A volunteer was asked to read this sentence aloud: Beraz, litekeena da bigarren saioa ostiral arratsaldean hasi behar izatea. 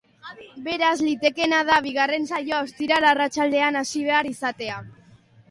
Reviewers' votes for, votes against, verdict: 2, 0, accepted